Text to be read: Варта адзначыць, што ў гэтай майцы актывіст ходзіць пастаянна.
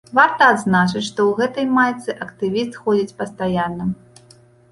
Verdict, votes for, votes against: accepted, 2, 0